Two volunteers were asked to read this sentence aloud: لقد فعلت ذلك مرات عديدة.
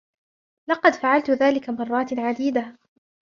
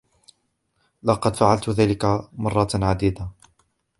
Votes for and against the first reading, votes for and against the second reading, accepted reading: 2, 1, 1, 2, first